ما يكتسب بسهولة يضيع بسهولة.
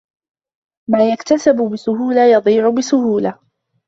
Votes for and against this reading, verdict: 1, 2, rejected